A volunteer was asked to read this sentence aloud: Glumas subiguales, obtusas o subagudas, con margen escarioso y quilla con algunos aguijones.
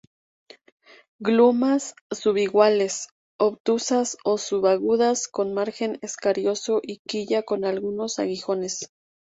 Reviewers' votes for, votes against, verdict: 0, 2, rejected